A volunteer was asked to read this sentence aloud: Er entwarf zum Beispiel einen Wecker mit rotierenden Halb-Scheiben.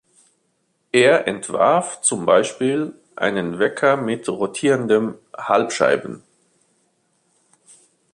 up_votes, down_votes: 2, 1